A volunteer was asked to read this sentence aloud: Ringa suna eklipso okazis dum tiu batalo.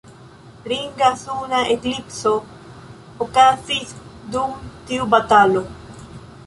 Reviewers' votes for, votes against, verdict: 2, 0, accepted